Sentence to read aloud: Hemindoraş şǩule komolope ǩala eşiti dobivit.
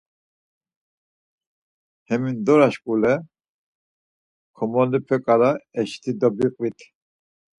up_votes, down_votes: 4, 2